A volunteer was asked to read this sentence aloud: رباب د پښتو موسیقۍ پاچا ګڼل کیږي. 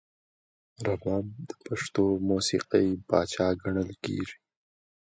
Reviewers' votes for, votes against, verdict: 2, 0, accepted